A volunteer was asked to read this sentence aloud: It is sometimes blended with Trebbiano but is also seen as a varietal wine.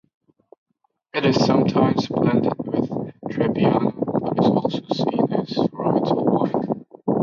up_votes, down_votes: 0, 2